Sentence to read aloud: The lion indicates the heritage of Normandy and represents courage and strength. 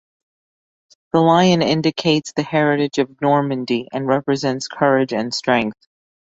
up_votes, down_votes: 2, 0